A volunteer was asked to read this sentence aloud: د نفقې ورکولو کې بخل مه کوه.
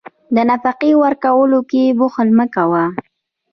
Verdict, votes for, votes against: rejected, 0, 2